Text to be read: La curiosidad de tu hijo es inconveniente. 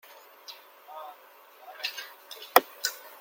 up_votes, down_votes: 0, 2